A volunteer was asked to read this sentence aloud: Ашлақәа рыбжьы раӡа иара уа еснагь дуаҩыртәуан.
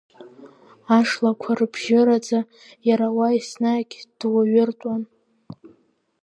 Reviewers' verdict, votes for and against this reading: accepted, 2, 1